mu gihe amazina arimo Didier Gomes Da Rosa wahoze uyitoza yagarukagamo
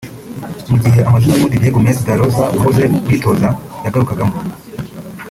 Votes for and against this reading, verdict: 0, 2, rejected